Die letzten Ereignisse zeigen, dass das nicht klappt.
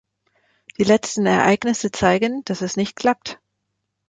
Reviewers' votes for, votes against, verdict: 1, 2, rejected